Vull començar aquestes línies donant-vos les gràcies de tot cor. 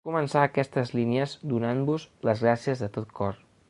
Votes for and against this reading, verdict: 0, 2, rejected